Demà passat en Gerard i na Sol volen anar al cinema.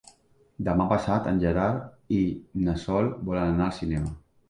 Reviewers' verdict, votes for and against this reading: accepted, 3, 0